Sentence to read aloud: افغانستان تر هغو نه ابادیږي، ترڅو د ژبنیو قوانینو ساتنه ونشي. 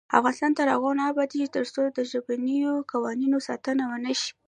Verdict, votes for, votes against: accepted, 2, 0